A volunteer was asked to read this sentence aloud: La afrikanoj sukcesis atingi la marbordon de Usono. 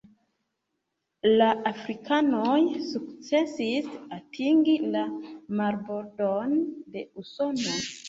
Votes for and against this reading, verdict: 1, 2, rejected